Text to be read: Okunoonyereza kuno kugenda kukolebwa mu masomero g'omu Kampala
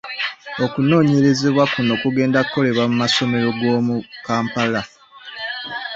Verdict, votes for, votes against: rejected, 0, 2